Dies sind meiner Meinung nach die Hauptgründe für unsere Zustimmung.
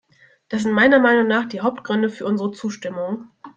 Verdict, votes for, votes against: rejected, 0, 2